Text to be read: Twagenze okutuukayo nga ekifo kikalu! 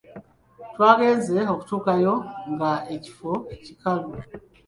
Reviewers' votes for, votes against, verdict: 2, 0, accepted